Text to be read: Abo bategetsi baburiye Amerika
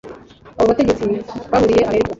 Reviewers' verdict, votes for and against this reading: rejected, 1, 2